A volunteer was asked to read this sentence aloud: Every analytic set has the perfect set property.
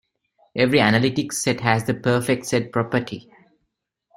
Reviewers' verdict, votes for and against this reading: accepted, 2, 0